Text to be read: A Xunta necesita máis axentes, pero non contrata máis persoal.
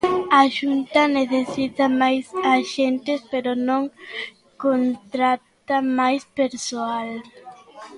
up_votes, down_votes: 2, 1